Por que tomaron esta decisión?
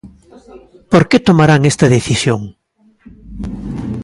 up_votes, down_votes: 0, 2